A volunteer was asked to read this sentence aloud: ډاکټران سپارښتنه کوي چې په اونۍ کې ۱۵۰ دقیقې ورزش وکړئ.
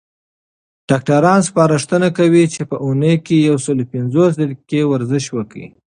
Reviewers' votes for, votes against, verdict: 0, 2, rejected